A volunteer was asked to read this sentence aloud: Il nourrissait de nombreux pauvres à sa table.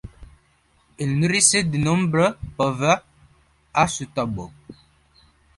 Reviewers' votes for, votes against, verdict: 1, 2, rejected